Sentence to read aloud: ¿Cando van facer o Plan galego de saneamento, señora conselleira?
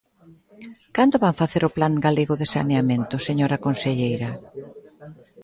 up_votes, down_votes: 2, 0